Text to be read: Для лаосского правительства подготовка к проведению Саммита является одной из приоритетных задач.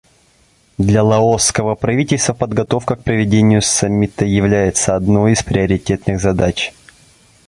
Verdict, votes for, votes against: accepted, 2, 0